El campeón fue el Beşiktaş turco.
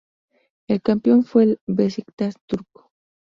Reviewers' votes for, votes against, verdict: 4, 0, accepted